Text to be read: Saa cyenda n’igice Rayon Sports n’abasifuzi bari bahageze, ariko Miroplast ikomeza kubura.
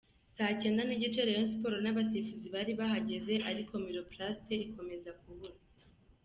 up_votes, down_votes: 2, 0